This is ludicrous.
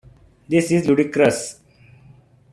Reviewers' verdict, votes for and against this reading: accepted, 2, 1